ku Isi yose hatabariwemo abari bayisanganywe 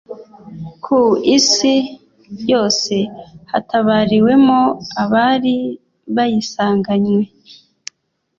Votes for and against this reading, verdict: 2, 0, accepted